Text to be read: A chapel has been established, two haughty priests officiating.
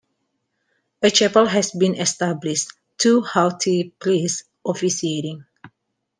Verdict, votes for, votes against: accepted, 2, 0